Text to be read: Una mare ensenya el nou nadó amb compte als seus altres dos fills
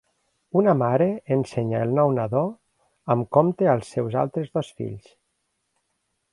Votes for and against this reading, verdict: 4, 0, accepted